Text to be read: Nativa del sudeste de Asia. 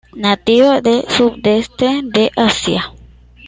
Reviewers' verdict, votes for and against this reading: rejected, 1, 2